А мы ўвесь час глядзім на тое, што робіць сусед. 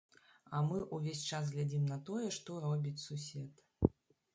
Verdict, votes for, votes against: rejected, 1, 2